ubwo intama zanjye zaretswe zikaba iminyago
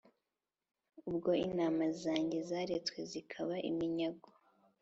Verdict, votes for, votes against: accepted, 2, 1